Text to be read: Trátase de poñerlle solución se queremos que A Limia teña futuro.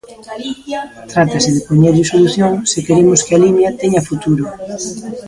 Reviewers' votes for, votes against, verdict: 0, 2, rejected